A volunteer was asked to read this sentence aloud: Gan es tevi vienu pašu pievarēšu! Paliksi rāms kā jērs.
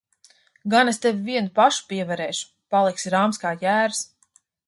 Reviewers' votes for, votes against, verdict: 2, 0, accepted